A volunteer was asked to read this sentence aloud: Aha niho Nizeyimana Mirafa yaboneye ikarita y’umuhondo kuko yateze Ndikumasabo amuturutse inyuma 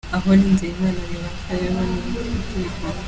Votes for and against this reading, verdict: 0, 2, rejected